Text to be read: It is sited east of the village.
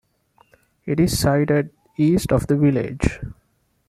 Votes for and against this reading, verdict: 2, 0, accepted